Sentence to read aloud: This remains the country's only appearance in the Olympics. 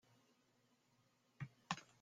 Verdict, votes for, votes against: rejected, 0, 2